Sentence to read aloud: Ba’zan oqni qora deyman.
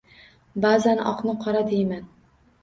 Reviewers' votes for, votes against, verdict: 2, 0, accepted